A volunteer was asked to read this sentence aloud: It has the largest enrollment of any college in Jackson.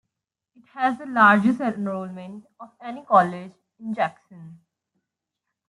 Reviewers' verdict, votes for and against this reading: rejected, 0, 2